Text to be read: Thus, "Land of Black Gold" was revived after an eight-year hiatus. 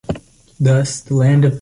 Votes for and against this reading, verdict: 0, 2, rejected